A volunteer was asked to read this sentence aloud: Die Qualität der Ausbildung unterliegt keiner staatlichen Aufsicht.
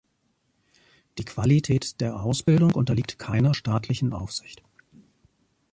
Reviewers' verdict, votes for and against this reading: accepted, 2, 0